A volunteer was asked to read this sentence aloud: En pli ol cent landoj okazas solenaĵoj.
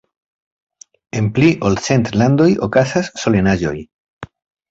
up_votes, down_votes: 2, 0